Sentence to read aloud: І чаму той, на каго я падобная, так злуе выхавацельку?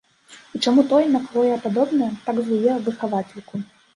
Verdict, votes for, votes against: rejected, 1, 2